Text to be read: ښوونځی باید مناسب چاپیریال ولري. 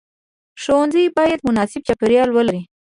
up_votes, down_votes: 1, 2